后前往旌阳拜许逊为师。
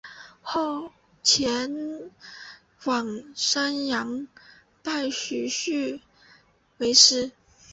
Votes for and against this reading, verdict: 1, 3, rejected